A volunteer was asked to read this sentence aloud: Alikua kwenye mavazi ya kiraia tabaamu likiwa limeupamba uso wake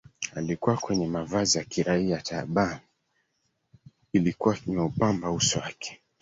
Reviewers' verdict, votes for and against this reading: rejected, 1, 2